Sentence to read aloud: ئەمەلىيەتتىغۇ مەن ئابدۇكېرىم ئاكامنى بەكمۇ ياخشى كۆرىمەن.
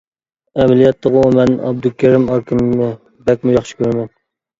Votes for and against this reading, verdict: 0, 2, rejected